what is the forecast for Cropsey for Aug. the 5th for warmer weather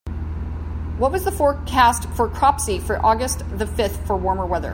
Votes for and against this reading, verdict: 0, 2, rejected